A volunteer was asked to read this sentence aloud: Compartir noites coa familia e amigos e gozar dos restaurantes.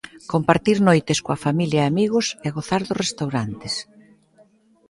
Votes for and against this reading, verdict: 2, 1, accepted